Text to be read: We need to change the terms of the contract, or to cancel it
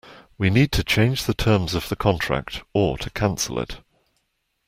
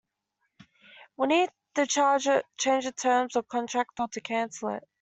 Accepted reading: first